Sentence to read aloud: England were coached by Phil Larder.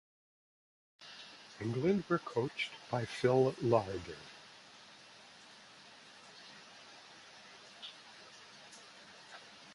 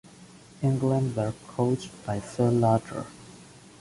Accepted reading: first